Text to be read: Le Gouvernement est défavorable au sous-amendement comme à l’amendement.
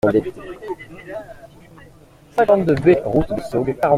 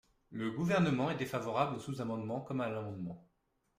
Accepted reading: second